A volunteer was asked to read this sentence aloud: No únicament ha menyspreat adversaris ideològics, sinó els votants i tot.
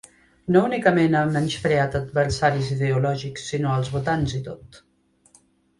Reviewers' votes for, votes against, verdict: 2, 0, accepted